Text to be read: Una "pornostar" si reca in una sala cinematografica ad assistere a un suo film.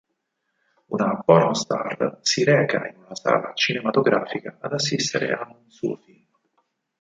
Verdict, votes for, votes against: rejected, 2, 4